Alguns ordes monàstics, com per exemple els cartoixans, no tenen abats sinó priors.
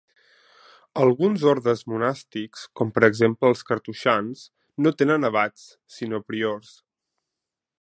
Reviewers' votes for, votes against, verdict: 3, 0, accepted